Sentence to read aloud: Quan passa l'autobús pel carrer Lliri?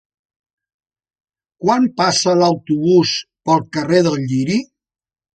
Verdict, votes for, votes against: rejected, 1, 2